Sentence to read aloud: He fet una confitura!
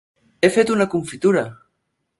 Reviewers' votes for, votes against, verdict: 6, 0, accepted